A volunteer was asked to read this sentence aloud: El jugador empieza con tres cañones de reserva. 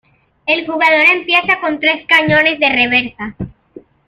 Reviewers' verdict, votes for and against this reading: rejected, 0, 2